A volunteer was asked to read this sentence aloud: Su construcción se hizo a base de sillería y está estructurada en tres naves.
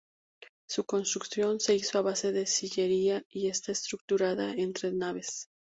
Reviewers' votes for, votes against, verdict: 2, 0, accepted